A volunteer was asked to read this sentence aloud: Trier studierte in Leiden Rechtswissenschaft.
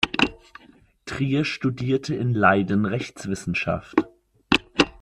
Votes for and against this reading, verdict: 2, 0, accepted